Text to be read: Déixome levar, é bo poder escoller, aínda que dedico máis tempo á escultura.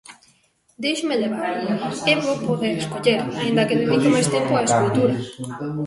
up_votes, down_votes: 0, 2